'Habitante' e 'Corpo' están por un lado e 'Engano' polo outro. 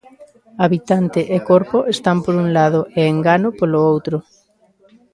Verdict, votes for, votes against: accepted, 2, 0